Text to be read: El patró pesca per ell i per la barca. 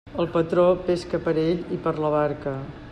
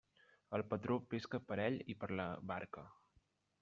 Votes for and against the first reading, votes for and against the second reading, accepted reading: 3, 0, 1, 2, first